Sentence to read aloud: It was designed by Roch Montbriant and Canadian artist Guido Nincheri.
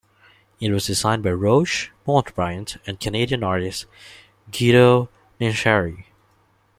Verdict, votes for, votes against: accepted, 2, 0